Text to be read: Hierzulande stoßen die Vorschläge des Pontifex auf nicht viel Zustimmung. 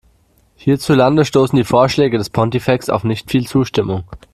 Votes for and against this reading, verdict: 2, 0, accepted